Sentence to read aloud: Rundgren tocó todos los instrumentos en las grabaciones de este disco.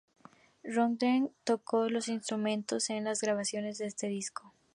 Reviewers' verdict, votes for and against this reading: rejected, 0, 2